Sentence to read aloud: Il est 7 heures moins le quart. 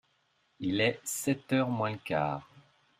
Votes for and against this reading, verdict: 0, 2, rejected